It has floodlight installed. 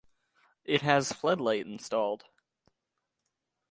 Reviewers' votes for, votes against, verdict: 2, 0, accepted